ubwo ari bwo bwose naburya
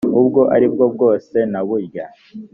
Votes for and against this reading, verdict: 2, 0, accepted